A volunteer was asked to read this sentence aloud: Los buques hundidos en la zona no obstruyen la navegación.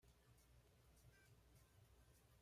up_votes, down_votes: 1, 2